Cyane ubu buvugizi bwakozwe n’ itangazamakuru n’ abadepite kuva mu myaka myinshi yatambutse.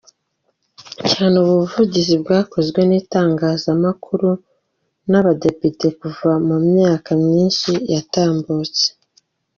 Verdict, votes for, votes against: accepted, 3, 1